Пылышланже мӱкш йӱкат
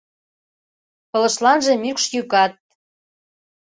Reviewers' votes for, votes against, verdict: 2, 0, accepted